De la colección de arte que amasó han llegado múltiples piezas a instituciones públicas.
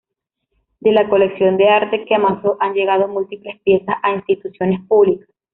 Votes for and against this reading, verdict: 2, 0, accepted